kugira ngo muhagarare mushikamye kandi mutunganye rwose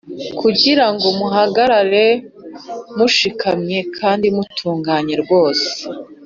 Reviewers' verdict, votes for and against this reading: accepted, 2, 0